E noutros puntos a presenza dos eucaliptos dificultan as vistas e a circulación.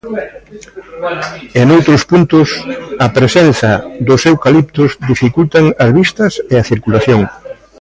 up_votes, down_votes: 1, 2